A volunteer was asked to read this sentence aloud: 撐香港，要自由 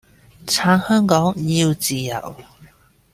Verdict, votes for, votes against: accepted, 2, 0